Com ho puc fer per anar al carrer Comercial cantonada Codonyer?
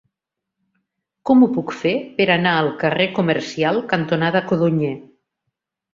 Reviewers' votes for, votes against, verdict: 3, 1, accepted